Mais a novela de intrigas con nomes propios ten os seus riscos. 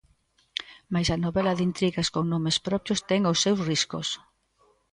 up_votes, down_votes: 2, 0